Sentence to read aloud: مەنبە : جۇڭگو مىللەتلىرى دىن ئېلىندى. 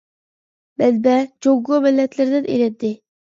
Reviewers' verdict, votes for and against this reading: rejected, 0, 2